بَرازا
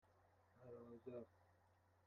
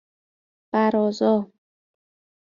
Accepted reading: second